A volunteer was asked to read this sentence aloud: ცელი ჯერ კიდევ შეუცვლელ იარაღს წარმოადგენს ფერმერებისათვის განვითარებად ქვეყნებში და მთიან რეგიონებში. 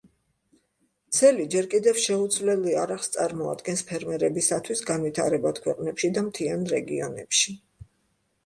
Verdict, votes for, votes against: accepted, 2, 0